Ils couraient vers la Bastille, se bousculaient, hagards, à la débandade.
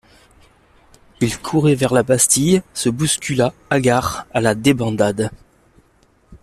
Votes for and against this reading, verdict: 0, 2, rejected